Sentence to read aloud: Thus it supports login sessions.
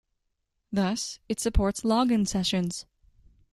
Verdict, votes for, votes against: accepted, 2, 0